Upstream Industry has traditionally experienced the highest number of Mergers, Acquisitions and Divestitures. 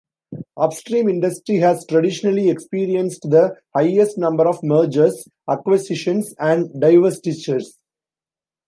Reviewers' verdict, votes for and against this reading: accepted, 2, 0